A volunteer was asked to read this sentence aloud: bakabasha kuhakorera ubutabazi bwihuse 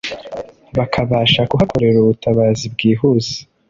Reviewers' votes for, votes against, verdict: 2, 0, accepted